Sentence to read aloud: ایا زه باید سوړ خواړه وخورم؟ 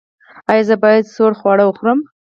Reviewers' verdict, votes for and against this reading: rejected, 0, 4